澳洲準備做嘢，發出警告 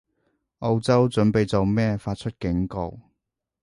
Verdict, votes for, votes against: rejected, 0, 2